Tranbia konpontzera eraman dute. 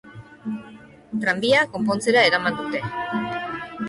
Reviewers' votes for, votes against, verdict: 2, 1, accepted